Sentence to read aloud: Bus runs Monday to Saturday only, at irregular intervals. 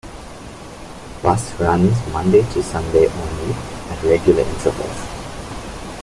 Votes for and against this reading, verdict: 0, 2, rejected